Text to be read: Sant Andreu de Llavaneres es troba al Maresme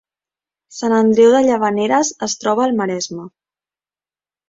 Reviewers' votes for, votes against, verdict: 3, 0, accepted